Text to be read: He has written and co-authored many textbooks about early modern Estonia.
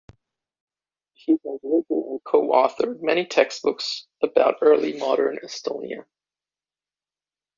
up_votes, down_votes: 0, 2